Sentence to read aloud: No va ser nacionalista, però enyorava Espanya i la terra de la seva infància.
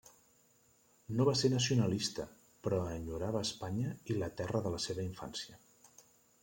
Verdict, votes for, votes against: accepted, 2, 1